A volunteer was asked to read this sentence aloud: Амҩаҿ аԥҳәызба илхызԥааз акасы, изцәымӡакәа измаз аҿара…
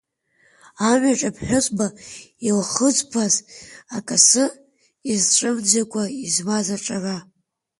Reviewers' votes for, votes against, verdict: 2, 1, accepted